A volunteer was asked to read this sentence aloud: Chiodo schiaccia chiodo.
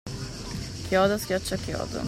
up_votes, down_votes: 2, 0